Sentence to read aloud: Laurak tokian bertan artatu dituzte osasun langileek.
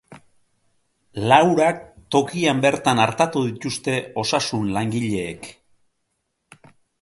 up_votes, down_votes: 1, 2